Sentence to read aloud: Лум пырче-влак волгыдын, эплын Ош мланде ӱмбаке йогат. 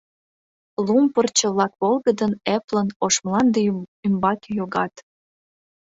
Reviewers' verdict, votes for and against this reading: rejected, 1, 2